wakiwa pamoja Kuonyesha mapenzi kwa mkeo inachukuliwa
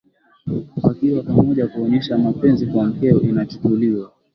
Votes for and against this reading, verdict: 2, 0, accepted